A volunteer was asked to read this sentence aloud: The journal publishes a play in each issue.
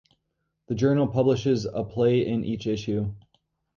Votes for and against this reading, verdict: 2, 0, accepted